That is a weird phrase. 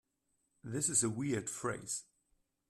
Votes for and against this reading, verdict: 0, 2, rejected